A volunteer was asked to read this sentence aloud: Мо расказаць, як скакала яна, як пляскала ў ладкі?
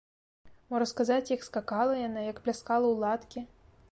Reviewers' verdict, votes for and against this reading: rejected, 0, 2